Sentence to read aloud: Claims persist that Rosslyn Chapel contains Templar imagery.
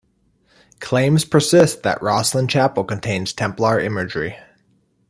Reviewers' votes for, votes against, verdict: 2, 0, accepted